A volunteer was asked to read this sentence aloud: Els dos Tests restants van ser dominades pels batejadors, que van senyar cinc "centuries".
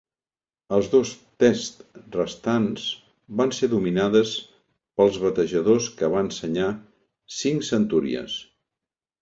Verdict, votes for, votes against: accepted, 2, 0